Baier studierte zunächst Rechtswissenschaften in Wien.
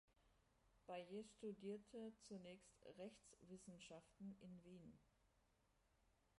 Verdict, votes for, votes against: rejected, 1, 2